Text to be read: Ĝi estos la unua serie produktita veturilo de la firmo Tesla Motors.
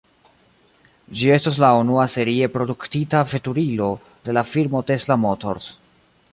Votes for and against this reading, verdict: 2, 0, accepted